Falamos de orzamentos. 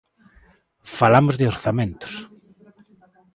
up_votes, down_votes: 2, 0